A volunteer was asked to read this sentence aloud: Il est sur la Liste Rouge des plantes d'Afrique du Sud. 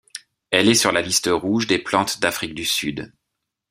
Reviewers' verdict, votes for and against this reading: rejected, 1, 2